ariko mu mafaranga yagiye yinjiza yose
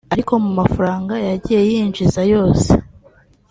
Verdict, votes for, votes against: accepted, 2, 1